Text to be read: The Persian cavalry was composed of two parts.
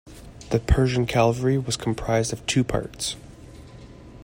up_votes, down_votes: 2, 1